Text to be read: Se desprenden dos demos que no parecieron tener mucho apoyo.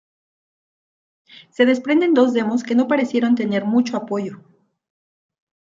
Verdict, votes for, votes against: accepted, 2, 0